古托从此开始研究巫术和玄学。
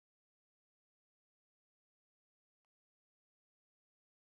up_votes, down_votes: 0, 2